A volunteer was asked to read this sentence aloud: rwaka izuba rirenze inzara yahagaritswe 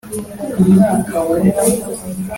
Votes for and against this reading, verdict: 0, 2, rejected